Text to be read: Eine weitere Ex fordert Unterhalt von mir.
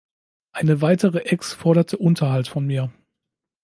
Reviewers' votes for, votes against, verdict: 1, 2, rejected